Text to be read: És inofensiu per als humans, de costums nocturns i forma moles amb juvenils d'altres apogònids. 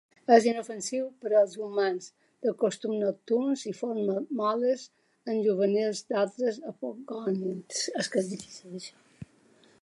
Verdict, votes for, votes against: rejected, 1, 2